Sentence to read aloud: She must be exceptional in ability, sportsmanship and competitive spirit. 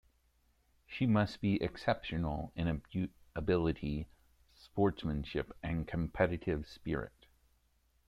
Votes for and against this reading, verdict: 1, 2, rejected